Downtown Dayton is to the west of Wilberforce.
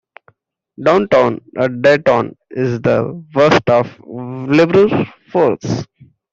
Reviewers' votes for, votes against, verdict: 0, 2, rejected